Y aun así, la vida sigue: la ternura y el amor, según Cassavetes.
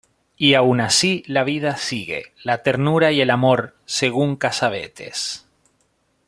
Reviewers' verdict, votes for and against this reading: accepted, 2, 0